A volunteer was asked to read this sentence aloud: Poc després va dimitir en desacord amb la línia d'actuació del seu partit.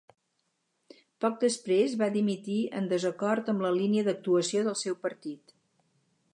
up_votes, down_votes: 4, 0